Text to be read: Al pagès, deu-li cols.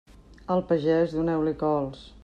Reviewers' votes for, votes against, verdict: 1, 2, rejected